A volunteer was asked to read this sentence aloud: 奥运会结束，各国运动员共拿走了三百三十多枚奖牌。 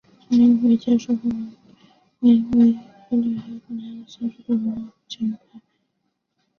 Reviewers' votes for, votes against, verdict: 0, 2, rejected